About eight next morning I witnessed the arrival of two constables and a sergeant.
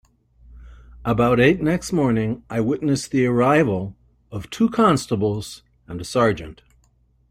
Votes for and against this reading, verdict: 2, 0, accepted